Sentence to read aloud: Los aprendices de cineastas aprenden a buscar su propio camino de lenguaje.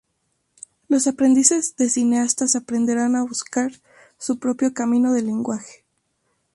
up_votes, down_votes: 0, 2